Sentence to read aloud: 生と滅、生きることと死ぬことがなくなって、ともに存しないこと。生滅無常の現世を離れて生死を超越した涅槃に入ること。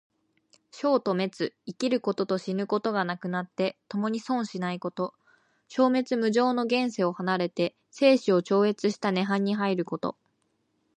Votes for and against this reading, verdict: 2, 0, accepted